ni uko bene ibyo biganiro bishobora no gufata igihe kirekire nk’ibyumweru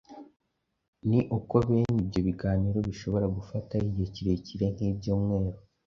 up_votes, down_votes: 1, 2